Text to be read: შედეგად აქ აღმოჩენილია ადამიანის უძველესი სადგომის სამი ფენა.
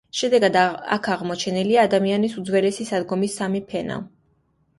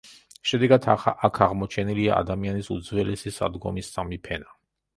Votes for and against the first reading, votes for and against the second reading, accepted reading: 2, 1, 0, 2, first